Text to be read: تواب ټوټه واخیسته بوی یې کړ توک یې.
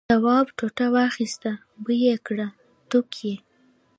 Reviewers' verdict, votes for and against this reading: rejected, 0, 2